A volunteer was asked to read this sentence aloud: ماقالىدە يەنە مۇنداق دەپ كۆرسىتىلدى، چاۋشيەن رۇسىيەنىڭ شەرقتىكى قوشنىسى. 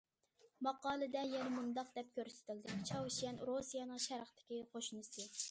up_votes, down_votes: 2, 0